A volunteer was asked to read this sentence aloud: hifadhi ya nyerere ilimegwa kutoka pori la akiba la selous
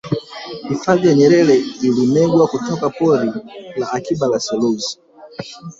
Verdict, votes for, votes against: rejected, 1, 2